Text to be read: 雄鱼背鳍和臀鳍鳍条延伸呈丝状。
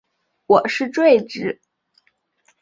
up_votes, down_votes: 0, 2